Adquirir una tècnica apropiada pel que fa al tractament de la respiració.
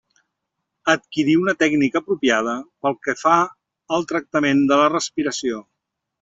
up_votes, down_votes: 2, 0